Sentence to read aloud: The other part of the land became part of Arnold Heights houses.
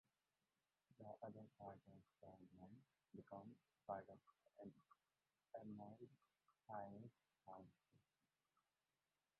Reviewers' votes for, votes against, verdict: 0, 2, rejected